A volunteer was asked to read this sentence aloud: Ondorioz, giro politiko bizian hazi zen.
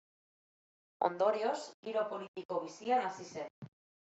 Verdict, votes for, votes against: accepted, 2, 0